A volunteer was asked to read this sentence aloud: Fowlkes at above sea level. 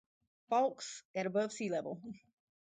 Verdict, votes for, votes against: accepted, 2, 0